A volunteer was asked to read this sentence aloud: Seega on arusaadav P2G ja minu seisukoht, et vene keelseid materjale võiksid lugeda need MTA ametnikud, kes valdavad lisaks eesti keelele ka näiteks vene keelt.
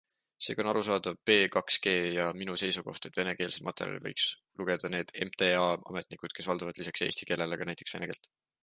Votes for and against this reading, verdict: 0, 2, rejected